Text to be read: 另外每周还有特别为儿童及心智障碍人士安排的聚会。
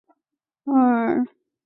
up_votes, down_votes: 1, 2